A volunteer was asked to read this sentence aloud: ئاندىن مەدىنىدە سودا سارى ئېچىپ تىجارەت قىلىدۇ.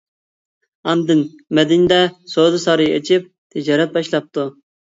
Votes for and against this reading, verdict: 0, 2, rejected